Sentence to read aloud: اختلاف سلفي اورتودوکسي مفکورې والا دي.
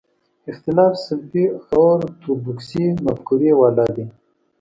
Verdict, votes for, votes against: accepted, 2, 0